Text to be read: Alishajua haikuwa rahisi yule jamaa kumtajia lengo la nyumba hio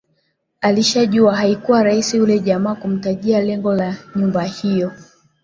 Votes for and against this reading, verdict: 2, 0, accepted